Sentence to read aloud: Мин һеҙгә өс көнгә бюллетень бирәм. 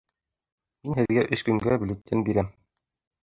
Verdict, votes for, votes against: rejected, 0, 2